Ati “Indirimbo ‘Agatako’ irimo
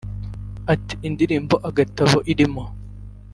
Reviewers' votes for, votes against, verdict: 1, 2, rejected